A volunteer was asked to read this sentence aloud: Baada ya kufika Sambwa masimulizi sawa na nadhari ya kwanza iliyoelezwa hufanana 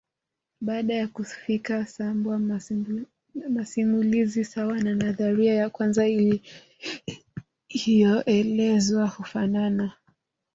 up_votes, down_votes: 2, 4